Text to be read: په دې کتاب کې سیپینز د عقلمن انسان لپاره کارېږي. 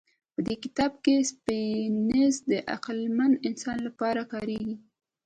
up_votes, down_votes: 1, 2